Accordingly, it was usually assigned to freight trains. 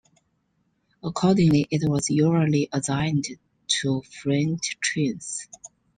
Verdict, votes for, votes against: rejected, 0, 2